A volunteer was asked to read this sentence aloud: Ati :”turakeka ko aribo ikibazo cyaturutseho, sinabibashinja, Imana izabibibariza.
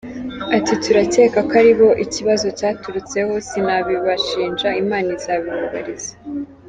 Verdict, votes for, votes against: accepted, 2, 0